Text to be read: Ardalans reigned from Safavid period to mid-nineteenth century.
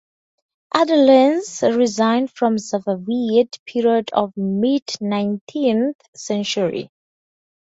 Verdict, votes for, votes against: rejected, 0, 4